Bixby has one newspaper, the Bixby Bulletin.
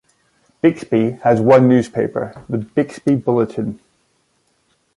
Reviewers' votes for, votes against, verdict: 2, 1, accepted